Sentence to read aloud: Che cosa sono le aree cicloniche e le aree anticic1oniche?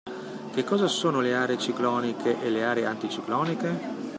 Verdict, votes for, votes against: rejected, 0, 2